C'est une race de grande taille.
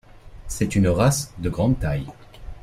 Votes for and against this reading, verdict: 2, 0, accepted